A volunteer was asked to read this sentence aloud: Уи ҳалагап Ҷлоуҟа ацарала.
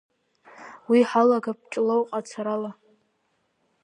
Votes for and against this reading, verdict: 3, 2, accepted